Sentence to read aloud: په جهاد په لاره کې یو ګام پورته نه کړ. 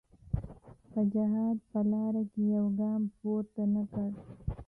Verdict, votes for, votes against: accepted, 2, 0